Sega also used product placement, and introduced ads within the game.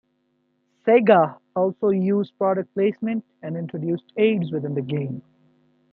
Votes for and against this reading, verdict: 0, 2, rejected